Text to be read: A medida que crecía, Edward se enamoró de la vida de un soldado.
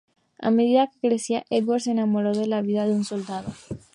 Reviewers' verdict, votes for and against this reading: accepted, 2, 0